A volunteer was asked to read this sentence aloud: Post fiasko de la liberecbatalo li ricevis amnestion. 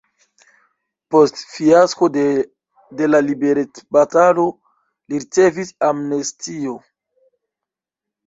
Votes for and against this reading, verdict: 1, 2, rejected